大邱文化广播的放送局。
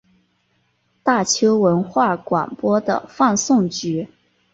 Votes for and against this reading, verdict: 3, 0, accepted